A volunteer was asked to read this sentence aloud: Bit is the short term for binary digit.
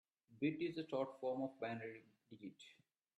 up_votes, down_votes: 0, 2